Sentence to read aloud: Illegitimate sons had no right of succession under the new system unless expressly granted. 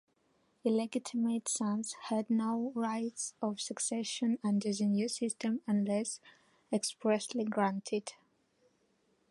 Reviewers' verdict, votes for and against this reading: rejected, 0, 2